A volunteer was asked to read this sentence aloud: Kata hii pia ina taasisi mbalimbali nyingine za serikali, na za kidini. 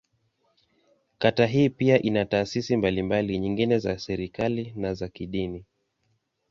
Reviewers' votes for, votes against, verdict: 2, 0, accepted